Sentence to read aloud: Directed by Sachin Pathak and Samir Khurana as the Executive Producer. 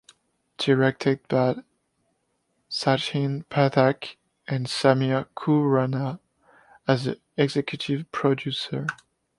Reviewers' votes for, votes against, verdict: 0, 2, rejected